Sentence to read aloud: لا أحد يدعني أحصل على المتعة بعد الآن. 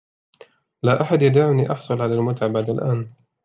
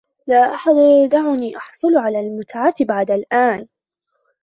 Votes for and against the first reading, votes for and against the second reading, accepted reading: 3, 0, 1, 2, first